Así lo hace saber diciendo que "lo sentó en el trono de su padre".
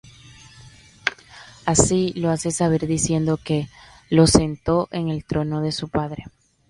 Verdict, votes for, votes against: rejected, 1, 2